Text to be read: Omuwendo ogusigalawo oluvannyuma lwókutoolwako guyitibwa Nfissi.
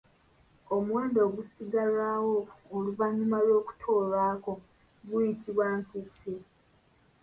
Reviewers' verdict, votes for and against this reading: accepted, 2, 0